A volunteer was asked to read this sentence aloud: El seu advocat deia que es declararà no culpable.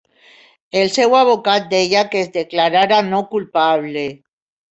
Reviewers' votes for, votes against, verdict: 1, 2, rejected